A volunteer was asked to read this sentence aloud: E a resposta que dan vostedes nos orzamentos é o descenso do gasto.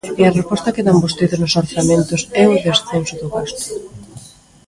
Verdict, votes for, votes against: rejected, 0, 2